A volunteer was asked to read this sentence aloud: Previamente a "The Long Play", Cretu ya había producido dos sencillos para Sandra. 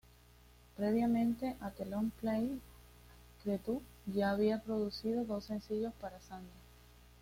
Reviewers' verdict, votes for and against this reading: accepted, 2, 0